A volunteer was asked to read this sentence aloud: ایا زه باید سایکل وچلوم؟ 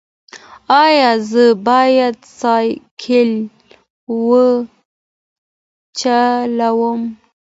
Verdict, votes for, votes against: rejected, 1, 2